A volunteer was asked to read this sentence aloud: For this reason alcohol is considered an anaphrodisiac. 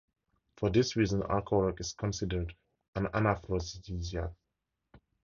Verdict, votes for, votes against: rejected, 2, 2